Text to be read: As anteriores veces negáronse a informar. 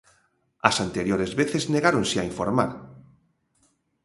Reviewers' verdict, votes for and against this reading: accepted, 2, 0